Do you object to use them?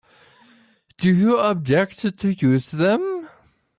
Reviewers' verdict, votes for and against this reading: rejected, 1, 2